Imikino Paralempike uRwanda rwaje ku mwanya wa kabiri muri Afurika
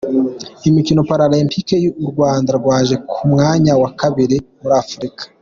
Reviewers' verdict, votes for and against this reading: accepted, 3, 1